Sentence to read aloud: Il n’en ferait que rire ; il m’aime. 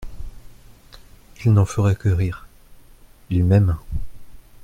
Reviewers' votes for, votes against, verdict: 2, 0, accepted